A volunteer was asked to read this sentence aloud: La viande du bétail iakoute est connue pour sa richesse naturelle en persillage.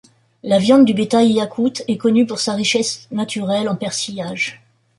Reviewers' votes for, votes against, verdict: 2, 0, accepted